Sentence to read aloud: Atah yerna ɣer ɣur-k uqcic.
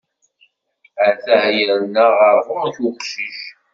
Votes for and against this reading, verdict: 2, 0, accepted